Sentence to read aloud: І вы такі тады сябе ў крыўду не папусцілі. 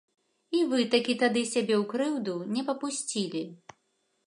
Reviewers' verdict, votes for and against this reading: accepted, 2, 0